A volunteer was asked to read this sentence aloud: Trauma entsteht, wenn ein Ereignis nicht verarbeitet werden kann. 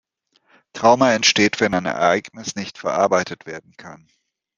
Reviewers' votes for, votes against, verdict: 2, 0, accepted